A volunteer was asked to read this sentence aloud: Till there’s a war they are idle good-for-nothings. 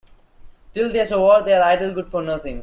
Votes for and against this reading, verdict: 1, 2, rejected